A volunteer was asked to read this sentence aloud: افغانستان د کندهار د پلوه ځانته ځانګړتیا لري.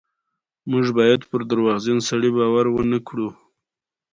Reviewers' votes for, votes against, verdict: 1, 2, rejected